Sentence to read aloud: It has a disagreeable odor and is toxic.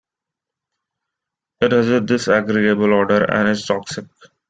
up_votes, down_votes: 2, 0